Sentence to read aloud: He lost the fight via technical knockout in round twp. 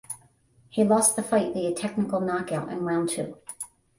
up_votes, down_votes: 5, 10